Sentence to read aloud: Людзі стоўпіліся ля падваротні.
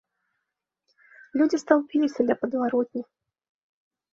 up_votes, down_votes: 0, 2